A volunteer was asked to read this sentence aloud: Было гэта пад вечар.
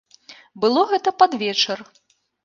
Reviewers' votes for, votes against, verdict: 2, 0, accepted